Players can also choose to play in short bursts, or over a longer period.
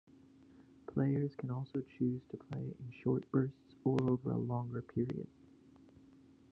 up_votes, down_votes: 2, 1